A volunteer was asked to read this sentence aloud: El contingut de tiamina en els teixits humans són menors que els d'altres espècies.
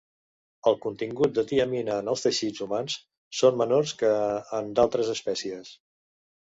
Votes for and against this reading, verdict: 0, 2, rejected